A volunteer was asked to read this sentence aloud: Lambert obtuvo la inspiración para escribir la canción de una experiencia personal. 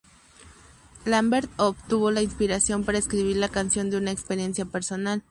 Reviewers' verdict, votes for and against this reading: rejected, 0, 2